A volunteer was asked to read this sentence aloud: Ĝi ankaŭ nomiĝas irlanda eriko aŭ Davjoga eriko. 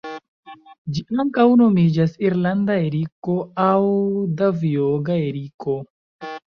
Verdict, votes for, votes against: accepted, 3, 1